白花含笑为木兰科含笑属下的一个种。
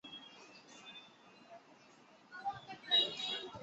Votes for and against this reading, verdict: 0, 4, rejected